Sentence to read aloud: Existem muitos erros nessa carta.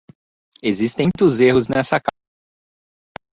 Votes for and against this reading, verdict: 0, 3, rejected